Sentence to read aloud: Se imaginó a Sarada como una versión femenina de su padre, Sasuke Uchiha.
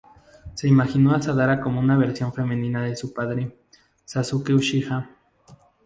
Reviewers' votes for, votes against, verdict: 2, 2, rejected